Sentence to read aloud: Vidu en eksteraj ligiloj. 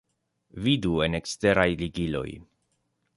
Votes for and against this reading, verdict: 2, 0, accepted